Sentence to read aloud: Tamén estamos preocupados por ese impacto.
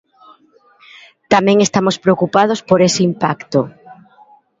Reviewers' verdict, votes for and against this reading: accepted, 2, 0